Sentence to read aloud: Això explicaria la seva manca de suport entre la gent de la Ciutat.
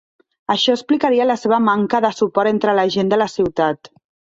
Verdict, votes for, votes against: accepted, 2, 0